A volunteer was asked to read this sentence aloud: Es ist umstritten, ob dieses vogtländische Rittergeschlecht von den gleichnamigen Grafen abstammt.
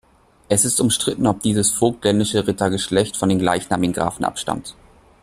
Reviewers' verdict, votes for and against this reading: accepted, 2, 0